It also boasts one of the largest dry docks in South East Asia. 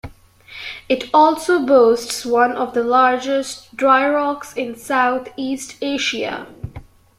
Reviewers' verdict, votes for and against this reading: accepted, 2, 1